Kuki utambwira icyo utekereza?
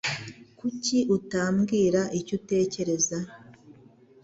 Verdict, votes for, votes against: accepted, 2, 0